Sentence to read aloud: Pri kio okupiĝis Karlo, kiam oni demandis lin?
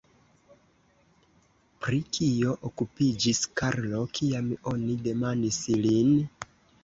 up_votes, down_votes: 0, 2